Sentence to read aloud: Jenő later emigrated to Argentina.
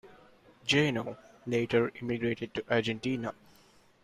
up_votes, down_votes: 0, 2